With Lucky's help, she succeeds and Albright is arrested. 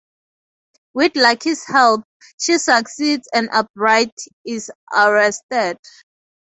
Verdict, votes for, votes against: accepted, 2, 0